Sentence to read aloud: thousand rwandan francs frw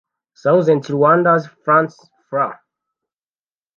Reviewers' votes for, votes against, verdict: 1, 2, rejected